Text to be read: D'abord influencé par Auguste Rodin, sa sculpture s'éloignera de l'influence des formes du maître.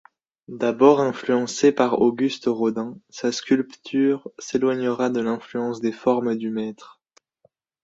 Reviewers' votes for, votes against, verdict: 0, 2, rejected